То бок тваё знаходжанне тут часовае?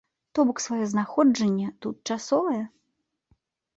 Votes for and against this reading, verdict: 1, 2, rejected